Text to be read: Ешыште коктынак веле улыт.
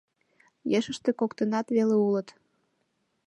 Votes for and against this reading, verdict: 3, 0, accepted